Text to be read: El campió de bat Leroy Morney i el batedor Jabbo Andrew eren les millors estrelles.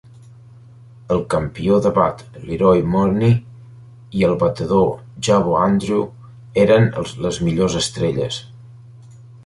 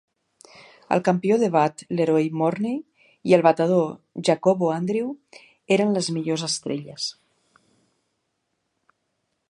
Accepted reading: first